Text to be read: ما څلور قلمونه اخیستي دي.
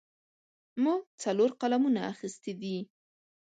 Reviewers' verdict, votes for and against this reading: rejected, 1, 2